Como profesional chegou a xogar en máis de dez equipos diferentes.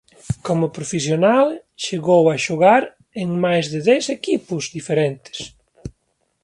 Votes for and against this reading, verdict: 23, 1, accepted